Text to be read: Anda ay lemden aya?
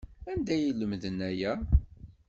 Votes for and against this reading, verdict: 2, 0, accepted